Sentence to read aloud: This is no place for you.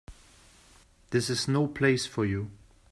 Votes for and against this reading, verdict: 2, 0, accepted